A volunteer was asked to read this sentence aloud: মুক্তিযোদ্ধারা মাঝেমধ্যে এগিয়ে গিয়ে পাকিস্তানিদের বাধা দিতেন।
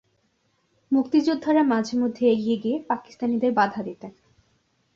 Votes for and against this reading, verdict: 2, 0, accepted